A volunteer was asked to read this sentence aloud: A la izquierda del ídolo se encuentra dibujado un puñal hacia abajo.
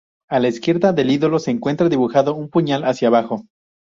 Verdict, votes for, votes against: accepted, 4, 0